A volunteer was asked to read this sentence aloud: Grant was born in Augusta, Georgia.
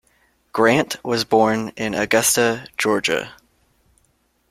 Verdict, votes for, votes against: accepted, 2, 0